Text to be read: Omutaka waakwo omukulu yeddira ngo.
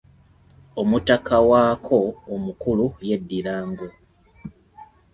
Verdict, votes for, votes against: accepted, 2, 0